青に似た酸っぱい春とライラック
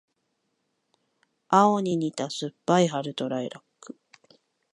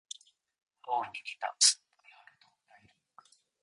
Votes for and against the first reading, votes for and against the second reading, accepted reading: 2, 0, 0, 2, first